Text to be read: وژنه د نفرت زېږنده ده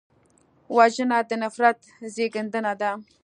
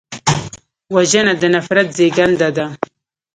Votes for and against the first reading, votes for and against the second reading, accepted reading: 2, 0, 1, 2, first